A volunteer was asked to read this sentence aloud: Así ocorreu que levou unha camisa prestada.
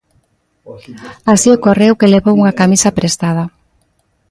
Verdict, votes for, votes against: rejected, 1, 2